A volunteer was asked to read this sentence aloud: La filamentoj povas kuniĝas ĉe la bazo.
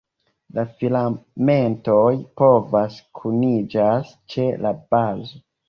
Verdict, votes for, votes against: rejected, 1, 2